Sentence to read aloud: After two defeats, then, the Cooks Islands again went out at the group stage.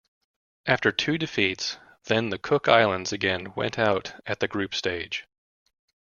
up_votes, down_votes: 2, 0